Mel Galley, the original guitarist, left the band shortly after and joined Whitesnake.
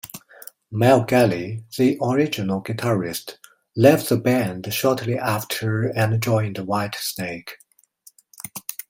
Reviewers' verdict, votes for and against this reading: accepted, 2, 0